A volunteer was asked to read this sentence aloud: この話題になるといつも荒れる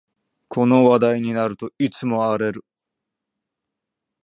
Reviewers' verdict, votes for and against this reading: rejected, 1, 2